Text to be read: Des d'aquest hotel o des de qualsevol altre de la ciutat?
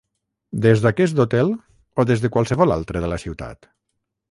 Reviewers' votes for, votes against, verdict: 3, 3, rejected